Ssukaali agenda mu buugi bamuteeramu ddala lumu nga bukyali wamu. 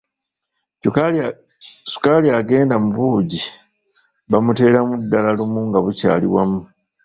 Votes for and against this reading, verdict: 0, 2, rejected